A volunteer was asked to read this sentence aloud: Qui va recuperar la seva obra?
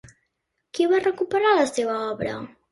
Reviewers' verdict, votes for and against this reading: accepted, 2, 0